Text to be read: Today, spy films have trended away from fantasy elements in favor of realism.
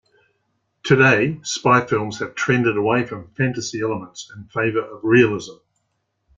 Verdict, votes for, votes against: accepted, 2, 0